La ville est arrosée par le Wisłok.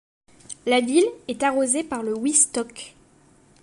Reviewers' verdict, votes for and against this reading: accepted, 3, 2